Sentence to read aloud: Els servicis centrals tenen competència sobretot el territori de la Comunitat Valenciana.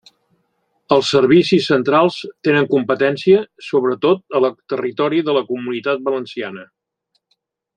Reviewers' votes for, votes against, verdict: 1, 2, rejected